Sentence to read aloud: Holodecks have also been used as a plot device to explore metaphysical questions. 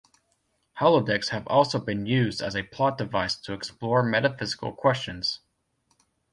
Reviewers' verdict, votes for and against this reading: accepted, 2, 0